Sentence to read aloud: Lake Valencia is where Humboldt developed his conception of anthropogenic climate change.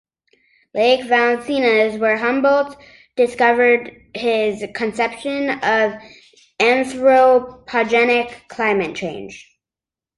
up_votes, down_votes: 0, 3